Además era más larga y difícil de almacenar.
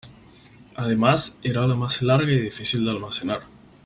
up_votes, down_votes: 4, 0